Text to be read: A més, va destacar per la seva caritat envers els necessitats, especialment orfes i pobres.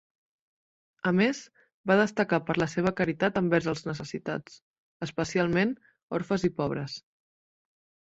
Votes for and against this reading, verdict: 2, 0, accepted